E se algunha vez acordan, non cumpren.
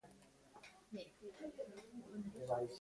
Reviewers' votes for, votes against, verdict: 0, 2, rejected